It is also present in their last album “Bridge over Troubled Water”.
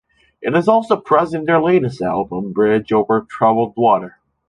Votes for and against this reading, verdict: 1, 2, rejected